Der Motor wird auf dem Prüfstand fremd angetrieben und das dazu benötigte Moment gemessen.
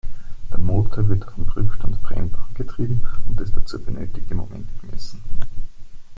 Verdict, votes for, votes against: rejected, 1, 2